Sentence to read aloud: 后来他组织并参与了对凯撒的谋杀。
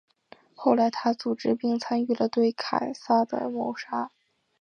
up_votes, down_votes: 5, 0